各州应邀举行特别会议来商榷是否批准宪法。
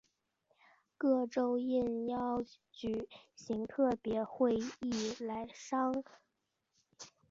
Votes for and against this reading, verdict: 3, 4, rejected